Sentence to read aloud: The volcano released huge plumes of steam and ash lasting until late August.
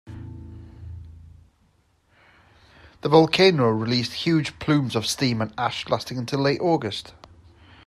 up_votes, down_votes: 2, 0